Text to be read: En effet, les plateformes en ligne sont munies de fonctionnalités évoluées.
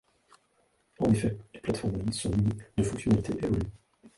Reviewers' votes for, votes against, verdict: 0, 2, rejected